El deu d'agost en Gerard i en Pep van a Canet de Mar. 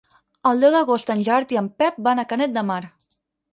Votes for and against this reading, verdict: 6, 0, accepted